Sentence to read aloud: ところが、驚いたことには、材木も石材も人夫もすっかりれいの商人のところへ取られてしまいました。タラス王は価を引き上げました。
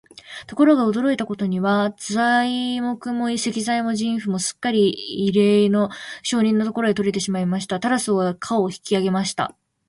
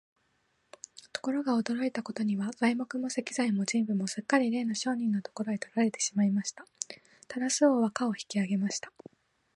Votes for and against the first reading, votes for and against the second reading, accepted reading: 2, 4, 2, 0, second